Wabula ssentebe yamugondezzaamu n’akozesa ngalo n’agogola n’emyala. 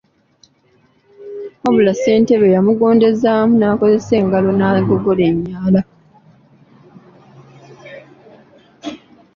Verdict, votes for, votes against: accepted, 2, 0